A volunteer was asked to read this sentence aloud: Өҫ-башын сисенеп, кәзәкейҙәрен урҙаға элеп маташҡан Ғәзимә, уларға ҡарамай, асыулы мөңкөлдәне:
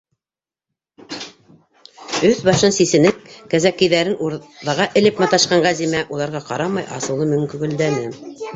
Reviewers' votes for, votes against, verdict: 1, 2, rejected